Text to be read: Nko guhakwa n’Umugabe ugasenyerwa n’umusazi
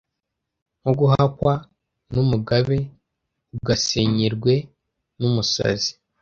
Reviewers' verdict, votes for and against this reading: rejected, 0, 2